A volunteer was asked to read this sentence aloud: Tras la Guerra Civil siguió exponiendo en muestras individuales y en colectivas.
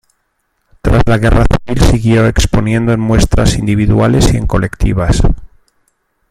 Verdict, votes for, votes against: rejected, 0, 2